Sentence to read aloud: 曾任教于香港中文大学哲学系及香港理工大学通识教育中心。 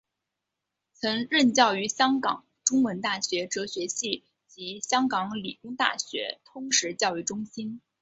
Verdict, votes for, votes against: rejected, 0, 2